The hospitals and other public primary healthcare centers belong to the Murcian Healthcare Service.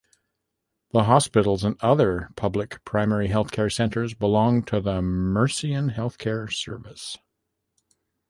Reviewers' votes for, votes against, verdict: 2, 0, accepted